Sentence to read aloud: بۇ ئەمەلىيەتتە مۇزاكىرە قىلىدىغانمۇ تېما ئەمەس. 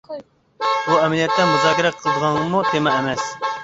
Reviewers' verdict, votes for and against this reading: rejected, 1, 2